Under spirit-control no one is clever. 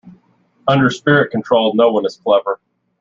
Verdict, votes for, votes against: accepted, 2, 0